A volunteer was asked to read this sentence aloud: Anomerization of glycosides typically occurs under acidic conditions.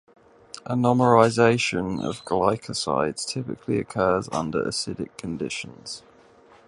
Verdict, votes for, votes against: accepted, 2, 0